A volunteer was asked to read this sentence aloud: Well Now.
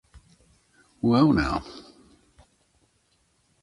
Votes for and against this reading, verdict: 2, 0, accepted